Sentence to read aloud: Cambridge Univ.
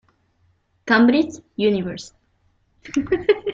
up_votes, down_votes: 0, 2